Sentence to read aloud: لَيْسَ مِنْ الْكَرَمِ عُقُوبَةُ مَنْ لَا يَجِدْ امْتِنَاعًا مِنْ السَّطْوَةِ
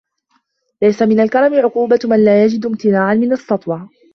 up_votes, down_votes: 0, 2